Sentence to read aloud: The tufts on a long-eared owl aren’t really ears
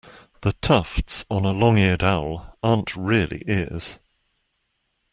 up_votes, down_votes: 1, 2